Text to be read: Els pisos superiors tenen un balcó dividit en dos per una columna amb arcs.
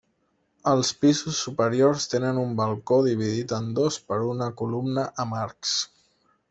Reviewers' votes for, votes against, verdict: 1, 2, rejected